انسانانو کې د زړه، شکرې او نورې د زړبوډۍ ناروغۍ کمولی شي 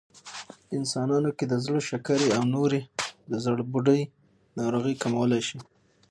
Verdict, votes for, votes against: accepted, 6, 0